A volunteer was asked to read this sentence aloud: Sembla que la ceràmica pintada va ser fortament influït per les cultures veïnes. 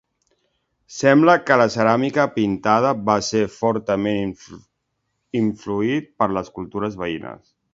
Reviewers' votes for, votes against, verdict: 0, 2, rejected